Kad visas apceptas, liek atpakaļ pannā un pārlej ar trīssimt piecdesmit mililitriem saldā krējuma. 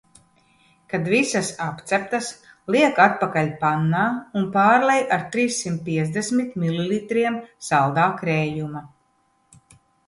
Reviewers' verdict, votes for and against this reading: accepted, 2, 0